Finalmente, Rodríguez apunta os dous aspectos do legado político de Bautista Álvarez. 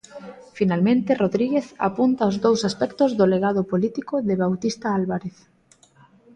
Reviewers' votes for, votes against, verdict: 2, 0, accepted